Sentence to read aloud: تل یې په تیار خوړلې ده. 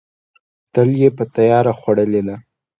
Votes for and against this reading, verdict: 2, 0, accepted